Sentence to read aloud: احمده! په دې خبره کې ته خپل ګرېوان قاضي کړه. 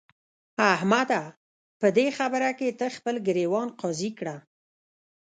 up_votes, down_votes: 0, 2